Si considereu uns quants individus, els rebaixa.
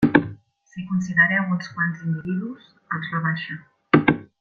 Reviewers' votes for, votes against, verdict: 0, 2, rejected